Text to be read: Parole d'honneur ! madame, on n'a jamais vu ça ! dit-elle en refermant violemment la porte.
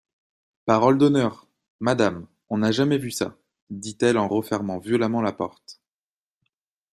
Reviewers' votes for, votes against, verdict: 2, 0, accepted